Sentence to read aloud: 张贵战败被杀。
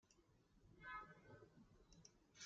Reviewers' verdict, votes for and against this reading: rejected, 0, 2